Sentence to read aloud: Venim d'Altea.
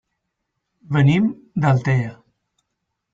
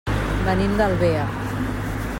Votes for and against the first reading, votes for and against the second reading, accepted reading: 4, 0, 1, 2, first